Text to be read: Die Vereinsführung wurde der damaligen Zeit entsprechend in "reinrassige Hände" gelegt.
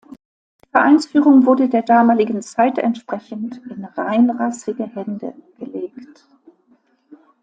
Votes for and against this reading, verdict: 1, 2, rejected